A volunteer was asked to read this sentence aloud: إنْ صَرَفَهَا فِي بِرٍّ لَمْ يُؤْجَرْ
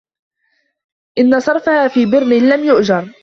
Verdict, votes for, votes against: accepted, 2, 1